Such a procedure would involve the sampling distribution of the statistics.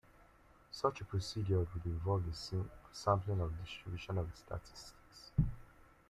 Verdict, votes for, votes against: rejected, 0, 2